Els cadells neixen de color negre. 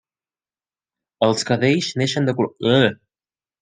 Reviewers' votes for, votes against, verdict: 0, 2, rejected